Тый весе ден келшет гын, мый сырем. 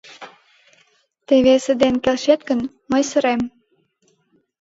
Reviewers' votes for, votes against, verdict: 2, 1, accepted